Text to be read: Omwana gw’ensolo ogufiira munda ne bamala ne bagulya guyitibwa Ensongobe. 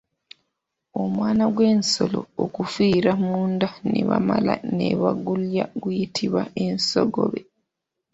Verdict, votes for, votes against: rejected, 0, 2